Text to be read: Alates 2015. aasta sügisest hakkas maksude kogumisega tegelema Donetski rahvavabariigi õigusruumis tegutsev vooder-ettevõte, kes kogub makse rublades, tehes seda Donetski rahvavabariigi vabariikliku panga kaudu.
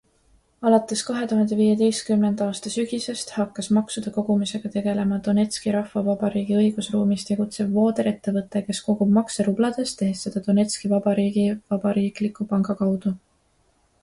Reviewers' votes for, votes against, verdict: 0, 2, rejected